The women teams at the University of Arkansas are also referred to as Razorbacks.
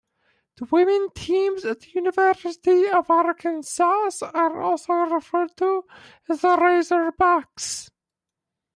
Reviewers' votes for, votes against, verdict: 0, 2, rejected